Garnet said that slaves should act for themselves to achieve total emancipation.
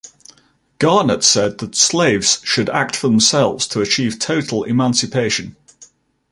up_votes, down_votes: 2, 0